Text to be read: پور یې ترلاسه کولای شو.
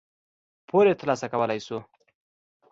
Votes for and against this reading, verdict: 2, 0, accepted